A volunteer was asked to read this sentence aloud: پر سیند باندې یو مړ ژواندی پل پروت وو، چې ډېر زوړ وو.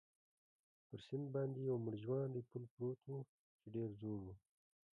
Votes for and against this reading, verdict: 0, 2, rejected